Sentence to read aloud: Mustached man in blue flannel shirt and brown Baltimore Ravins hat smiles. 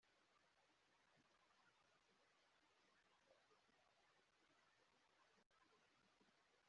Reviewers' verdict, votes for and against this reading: rejected, 0, 2